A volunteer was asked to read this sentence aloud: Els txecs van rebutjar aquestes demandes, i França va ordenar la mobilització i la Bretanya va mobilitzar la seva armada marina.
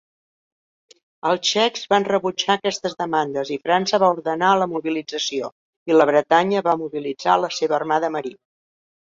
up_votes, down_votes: 3, 1